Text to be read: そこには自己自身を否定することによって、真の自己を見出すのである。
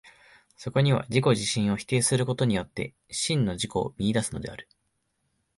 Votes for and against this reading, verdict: 2, 3, rejected